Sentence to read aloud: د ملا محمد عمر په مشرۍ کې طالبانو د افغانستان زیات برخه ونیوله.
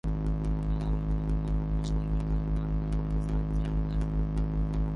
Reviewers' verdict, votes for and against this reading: rejected, 0, 2